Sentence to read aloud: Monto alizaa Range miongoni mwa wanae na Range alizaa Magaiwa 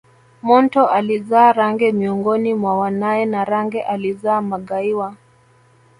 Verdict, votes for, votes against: accepted, 2, 1